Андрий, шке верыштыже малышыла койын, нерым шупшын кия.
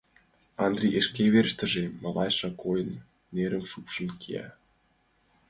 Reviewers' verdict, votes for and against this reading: rejected, 2, 3